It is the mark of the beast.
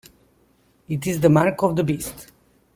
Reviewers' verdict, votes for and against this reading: accepted, 2, 0